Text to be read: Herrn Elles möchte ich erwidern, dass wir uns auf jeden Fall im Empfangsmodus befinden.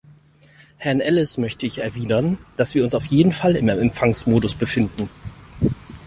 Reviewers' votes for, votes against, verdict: 2, 4, rejected